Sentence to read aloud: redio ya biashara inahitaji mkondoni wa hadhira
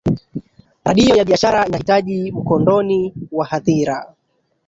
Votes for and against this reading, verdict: 1, 2, rejected